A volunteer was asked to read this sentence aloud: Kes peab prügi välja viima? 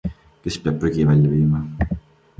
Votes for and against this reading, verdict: 3, 0, accepted